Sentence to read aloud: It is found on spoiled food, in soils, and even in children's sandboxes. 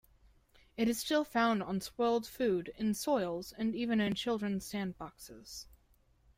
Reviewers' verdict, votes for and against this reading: rejected, 0, 2